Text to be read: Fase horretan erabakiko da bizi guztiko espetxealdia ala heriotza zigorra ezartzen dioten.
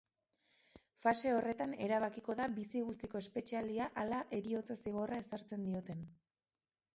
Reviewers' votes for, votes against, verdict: 2, 0, accepted